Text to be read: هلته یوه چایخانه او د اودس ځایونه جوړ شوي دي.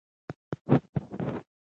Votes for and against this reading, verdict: 0, 2, rejected